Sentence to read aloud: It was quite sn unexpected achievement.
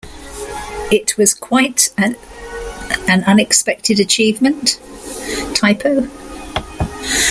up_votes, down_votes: 0, 2